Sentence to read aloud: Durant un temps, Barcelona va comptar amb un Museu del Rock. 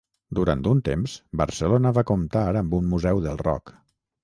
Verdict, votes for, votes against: rejected, 3, 3